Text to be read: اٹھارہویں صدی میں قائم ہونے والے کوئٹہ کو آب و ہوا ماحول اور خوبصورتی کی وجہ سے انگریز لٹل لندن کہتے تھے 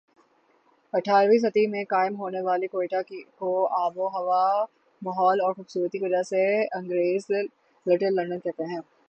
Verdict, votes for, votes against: accepted, 15, 3